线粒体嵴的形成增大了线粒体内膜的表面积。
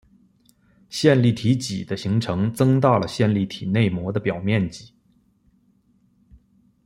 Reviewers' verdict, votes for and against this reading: accepted, 2, 0